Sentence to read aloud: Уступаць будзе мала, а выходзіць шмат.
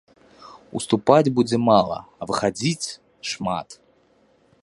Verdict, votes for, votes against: rejected, 1, 2